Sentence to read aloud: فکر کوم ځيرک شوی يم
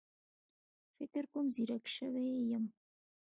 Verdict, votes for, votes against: accepted, 2, 0